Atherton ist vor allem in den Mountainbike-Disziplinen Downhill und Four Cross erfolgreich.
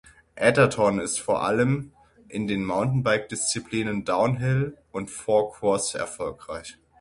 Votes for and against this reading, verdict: 6, 0, accepted